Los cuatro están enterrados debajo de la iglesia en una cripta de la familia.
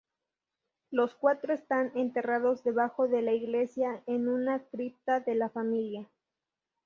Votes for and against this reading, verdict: 2, 0, accepted